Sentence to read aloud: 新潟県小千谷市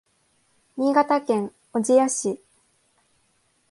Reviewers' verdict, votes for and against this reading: accepted, 2, 0